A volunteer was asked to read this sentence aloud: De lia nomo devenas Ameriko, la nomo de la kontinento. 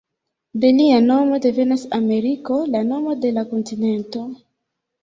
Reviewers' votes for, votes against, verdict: 0, 2, rejected